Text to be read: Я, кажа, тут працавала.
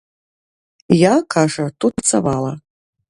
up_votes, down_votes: 0, 2